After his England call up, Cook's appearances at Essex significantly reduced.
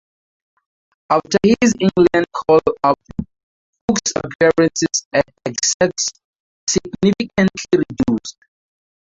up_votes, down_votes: 0, 2